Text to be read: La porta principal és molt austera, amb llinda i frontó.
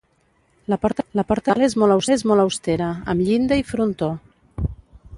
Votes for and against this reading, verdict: 0, 2, rejected